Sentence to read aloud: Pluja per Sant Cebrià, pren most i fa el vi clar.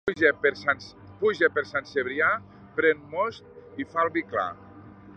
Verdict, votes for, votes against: rejected, 0, 2